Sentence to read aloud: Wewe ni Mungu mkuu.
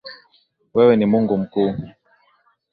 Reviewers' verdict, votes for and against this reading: accepted, 3, 0